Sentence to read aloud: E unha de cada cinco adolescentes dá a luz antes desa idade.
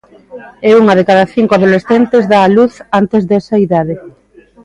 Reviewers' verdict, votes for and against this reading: rejected, 1, 2